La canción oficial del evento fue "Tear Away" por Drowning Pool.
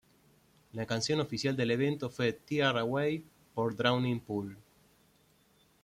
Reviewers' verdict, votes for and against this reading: accepted, 2, 1